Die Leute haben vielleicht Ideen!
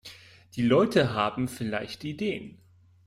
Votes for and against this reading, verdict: 2, 0, accepted